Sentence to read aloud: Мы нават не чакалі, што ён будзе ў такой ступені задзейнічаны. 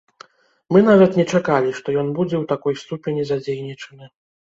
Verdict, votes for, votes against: rejected, 1, 2